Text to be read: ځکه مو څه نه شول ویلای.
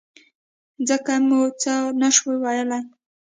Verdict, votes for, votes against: rejected, 1, 2